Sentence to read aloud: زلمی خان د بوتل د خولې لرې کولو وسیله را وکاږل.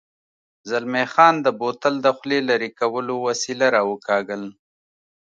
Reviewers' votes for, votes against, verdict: 2, 0, accepted